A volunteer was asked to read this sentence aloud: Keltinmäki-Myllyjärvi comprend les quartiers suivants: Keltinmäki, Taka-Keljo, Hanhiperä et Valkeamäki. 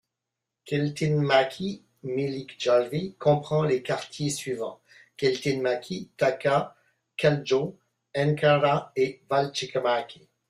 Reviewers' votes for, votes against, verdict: 0, 2, rejected